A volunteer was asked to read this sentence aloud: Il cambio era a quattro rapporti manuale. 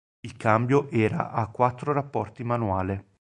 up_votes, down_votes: 2, 0